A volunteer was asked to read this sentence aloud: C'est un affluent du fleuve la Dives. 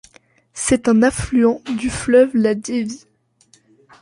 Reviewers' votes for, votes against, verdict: 0, 2, rejected